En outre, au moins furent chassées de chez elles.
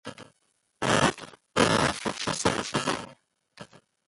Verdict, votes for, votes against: rejected, 0, 2